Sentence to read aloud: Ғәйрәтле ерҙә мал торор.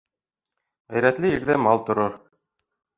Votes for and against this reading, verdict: 2, 0, accepted